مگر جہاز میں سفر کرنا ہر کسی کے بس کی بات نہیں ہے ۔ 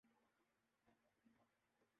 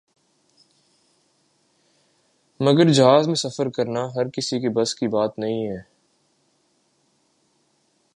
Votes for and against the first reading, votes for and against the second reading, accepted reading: 0, 4, 2, 1, second